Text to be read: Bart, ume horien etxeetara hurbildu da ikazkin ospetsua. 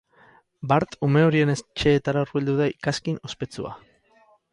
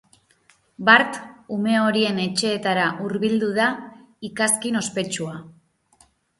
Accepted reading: second